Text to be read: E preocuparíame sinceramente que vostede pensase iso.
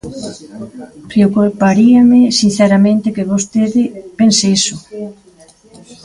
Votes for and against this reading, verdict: 0, 2, rejected